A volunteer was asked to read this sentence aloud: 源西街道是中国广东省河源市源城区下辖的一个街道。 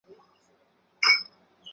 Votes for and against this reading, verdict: 1, 2, rejected